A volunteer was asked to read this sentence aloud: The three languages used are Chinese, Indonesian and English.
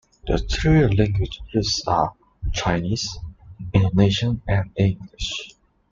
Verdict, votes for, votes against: accepted, 2, 0